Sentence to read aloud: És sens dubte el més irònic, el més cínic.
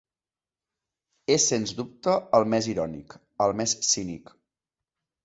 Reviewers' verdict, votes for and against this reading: accepted, 2, 0